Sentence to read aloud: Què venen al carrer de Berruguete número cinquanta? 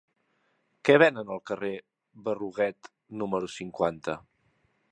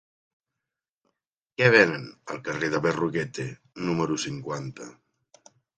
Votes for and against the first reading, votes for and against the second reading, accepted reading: 0, 2, 3, 0, second